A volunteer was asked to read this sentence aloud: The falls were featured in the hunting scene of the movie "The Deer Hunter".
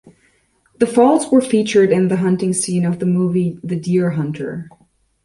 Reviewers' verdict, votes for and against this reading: accepted, 2, 0